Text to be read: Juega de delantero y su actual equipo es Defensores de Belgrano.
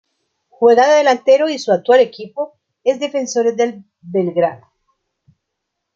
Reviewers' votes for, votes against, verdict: 0, 2, rejected